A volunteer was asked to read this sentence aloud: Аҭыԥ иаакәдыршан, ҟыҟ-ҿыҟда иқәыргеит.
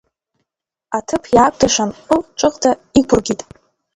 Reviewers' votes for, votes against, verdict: 1, 2, rejected